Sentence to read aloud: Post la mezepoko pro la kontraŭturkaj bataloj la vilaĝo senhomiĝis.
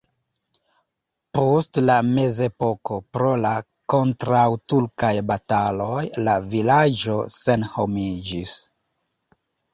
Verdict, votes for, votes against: accepted, 2, 0